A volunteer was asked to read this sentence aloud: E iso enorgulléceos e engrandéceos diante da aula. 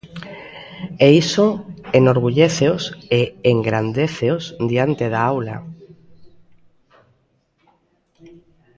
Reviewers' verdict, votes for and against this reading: accepted, 2, 0